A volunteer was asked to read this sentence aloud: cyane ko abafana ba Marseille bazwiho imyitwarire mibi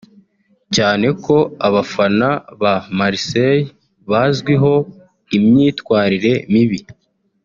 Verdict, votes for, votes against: accepted, 2, 1